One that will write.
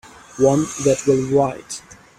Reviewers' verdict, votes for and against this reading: rejected, 0, 2